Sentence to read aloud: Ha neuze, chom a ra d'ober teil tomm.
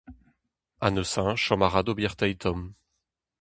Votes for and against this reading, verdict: 2, 2, rejected